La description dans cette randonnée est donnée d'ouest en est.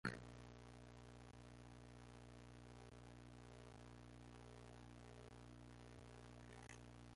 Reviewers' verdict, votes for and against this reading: rejected, 0, 2